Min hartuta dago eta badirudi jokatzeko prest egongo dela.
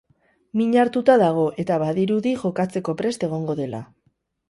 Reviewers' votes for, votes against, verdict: 2, 2, rejected